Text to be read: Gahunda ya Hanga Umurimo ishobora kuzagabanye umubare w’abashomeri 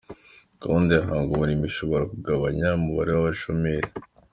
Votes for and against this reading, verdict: 2, 1, accepted